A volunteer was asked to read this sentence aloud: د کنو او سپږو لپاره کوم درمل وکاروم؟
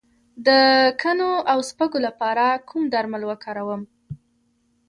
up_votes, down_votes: 2, 0